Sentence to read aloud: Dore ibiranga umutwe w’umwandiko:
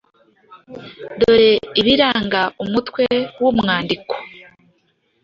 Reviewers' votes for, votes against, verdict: 2, 0, accepted